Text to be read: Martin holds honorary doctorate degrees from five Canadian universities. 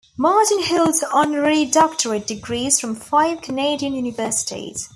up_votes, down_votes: 2, 0